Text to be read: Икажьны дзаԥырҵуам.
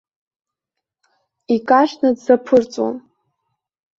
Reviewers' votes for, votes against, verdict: 2, 0, accepted